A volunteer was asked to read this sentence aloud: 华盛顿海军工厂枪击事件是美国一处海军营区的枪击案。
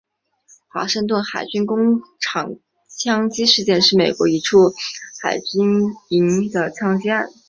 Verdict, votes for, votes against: accepted, 3, 2